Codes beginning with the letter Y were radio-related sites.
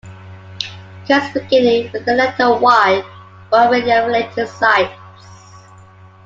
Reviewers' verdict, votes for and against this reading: rejected, 0, 2